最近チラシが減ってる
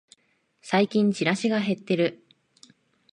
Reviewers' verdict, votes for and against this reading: accepted, 2, 0